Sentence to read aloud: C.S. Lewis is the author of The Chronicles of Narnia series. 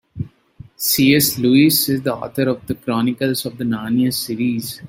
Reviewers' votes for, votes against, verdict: 0, 2, rejected